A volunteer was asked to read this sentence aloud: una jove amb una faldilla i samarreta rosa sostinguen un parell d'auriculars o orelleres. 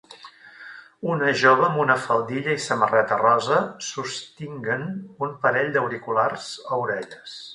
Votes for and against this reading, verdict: 0, 2, rejected